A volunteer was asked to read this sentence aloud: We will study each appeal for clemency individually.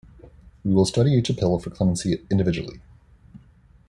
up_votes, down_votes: 1, 2